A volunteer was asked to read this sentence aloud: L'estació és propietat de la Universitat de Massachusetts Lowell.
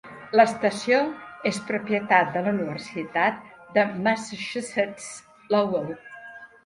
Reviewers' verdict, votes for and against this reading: rejected, 1, 2